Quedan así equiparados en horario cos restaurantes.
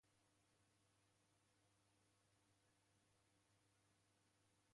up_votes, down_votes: 0, 2